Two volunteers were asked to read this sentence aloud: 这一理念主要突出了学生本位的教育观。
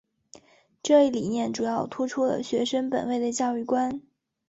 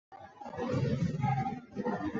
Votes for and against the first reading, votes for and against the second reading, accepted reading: 6, 1, 0, 2, first